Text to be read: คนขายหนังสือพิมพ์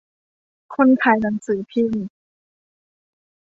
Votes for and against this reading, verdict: 2, 0, accepted